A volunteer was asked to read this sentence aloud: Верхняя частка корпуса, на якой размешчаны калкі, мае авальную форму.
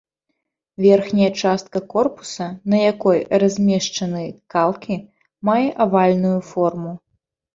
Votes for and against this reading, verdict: 1, 2, rejected